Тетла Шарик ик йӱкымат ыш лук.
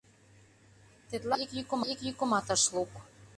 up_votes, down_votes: 0, 2